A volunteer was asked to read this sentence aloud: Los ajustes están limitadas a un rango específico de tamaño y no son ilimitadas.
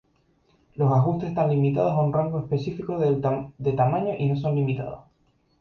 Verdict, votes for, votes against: rejected, 0, 2